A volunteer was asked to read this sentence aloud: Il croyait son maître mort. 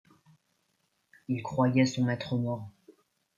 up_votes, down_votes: 2, 1